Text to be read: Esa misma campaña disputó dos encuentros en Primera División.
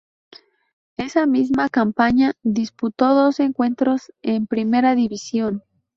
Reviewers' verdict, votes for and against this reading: accepted, 4, 0